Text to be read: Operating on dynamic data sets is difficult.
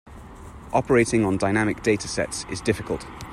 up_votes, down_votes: 2, 0